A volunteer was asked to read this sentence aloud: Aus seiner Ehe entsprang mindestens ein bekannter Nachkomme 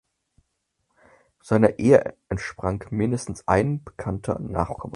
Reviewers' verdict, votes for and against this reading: rejected, 0, 4